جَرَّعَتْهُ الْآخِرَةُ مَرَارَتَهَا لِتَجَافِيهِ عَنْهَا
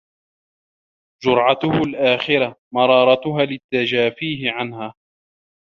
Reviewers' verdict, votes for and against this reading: rejected, 1, 2